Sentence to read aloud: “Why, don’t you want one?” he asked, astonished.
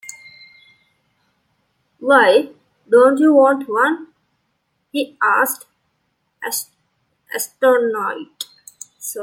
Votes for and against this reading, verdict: 0, 2, rejected